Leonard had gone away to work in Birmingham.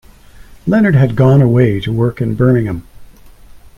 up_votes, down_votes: 2, 0